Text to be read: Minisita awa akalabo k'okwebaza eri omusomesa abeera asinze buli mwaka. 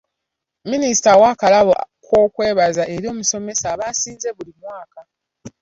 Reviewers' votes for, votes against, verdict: 1, 2, rejected